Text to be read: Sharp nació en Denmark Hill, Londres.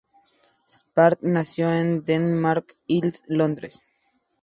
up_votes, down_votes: 0, 2